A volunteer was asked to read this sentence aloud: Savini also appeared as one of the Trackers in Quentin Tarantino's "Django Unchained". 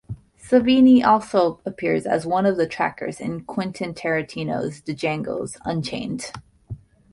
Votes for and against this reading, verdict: 1, 2, rejected